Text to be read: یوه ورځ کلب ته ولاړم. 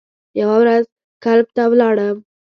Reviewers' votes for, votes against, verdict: 1, 2, rejected